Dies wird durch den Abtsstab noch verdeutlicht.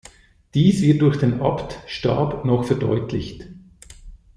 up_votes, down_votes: 0, 2